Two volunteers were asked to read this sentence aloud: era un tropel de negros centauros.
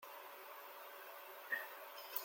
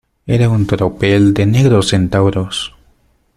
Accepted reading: second